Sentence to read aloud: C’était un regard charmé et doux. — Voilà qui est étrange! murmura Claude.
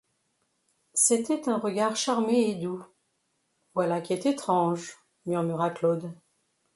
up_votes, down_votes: 2, 0